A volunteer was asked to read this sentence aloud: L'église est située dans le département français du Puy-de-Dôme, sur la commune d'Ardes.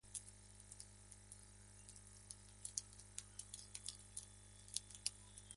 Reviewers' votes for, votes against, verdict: 0, 2, rejected